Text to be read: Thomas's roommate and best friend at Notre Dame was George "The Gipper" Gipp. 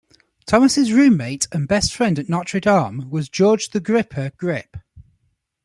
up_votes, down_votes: 0, 2